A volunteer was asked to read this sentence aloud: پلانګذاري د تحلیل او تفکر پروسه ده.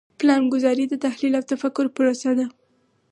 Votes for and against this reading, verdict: 4, 0, accepted